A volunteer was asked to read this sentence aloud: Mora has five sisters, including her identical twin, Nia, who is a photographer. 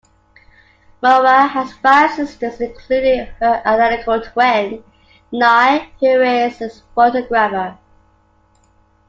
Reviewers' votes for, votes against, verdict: 0, 2, rejected